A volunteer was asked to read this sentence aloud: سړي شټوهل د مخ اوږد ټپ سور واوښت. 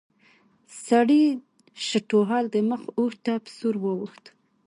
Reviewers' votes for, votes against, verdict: 1, 2, rejected